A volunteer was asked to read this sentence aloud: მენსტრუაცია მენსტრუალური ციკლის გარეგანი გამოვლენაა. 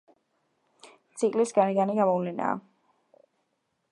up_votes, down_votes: 0, 2